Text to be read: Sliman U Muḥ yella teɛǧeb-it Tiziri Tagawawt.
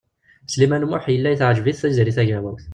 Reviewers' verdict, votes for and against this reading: rejected, 0, 2